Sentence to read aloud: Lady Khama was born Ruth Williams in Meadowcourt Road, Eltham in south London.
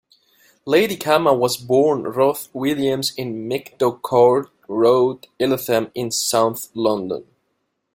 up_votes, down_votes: 2, 0